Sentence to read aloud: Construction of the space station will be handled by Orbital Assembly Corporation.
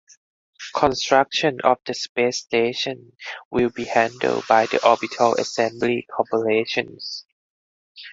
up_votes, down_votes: 2, 4